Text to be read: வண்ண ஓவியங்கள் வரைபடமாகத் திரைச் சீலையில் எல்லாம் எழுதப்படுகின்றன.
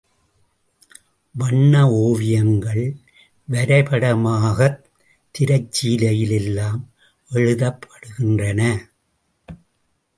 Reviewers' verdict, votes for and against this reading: rejected, 1, 2